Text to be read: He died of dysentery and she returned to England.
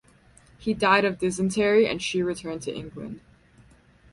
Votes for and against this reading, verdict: 4, 0, accepted